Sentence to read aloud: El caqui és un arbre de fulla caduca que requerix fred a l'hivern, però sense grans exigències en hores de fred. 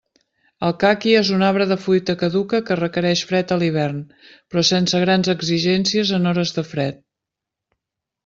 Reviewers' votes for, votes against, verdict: 1, 2, rejected